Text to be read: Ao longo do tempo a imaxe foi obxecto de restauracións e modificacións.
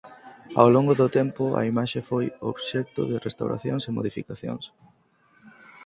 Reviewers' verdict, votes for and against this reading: accepted, 4, 0